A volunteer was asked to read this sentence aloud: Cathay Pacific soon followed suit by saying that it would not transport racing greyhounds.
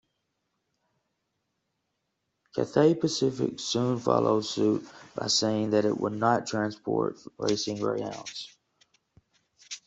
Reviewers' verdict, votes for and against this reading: accepted, 2, 0